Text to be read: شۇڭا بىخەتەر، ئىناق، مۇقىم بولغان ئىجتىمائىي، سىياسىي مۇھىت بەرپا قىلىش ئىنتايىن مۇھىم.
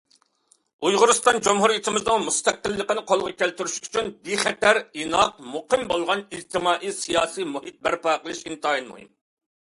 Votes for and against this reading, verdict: 0, 2, rejected